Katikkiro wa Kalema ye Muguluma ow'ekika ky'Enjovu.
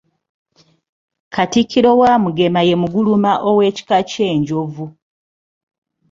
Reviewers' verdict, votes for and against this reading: rejected, 1, 2